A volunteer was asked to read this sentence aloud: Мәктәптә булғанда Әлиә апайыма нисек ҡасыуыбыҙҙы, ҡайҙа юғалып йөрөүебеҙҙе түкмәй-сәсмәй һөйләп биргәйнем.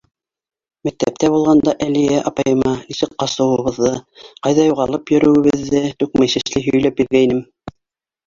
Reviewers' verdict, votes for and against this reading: accepted, 2, 0